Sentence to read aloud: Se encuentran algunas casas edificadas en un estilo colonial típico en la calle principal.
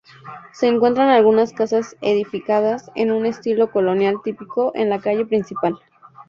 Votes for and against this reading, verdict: 2, 0, accepted